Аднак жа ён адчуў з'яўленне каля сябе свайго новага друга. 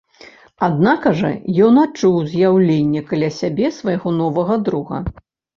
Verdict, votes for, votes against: rejected, 0, 2